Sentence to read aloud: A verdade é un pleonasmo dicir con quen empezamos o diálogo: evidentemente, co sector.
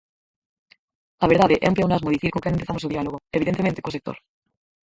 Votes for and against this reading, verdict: 2, 4, rejected